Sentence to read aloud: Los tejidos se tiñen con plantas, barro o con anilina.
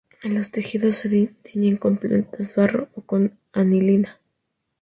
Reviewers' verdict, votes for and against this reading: rejected, 0, 2